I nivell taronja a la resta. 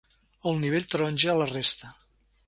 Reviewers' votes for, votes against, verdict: 1, 2, rejected